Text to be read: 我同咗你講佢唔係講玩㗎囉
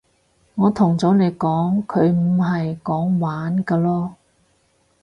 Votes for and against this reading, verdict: 4, 0, accepted